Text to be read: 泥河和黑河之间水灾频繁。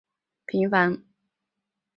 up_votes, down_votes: 0, 2